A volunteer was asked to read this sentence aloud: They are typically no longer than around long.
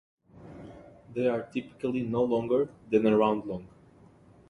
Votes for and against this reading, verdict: 0, 2, rejected